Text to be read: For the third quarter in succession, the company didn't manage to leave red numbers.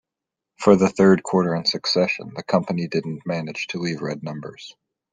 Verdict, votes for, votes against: rejected, 1, 2